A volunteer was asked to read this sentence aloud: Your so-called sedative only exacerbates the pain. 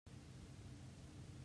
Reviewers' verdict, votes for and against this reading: rejected, 0, 2